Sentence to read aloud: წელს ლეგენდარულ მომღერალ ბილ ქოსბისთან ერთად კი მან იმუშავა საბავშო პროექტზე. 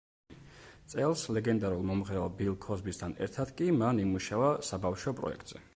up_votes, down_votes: 2, 0